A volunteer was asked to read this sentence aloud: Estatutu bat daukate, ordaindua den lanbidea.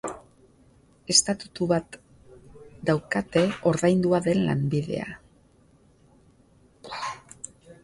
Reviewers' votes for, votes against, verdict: 3, 11, rejected